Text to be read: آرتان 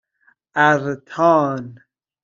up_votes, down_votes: 0, 2